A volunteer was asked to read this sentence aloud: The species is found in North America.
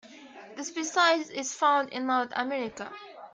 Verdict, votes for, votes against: accepted, 2, 1